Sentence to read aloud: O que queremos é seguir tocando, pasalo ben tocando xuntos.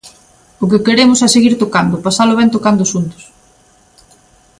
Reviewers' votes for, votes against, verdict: 2, 0, accepted